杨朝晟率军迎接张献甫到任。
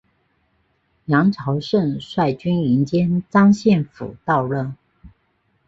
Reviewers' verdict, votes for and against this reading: accepted, 2, 1